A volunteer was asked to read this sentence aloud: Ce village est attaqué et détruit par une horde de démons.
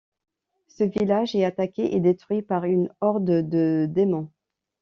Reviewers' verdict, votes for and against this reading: accepted, 2, 0